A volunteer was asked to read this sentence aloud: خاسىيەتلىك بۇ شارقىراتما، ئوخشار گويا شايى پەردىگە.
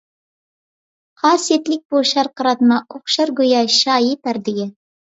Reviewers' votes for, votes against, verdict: 2, 0, accepted